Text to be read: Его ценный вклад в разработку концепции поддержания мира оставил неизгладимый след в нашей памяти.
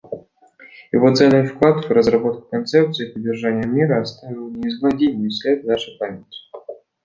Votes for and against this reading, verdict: 2, 0, accepted